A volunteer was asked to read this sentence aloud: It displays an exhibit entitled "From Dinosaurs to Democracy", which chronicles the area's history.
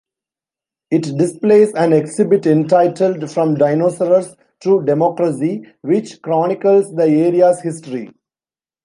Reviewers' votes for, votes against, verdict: 2, 0, accepted